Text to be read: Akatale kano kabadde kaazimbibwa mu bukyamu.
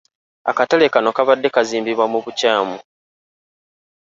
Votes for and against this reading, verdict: 0, 2, rejected